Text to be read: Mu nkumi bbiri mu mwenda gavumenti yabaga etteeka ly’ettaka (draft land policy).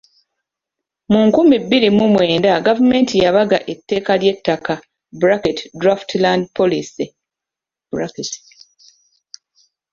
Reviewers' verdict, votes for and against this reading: rejected, 0, 2